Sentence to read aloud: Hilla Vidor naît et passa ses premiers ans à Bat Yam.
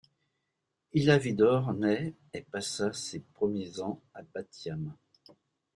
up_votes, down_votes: 2, 0